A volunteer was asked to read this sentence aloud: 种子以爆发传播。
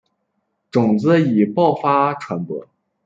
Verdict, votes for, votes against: rejected, 0, 2